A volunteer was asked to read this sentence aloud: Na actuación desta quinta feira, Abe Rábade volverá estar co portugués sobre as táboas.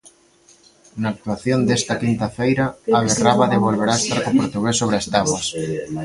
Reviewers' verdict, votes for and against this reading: accepted, 2, 0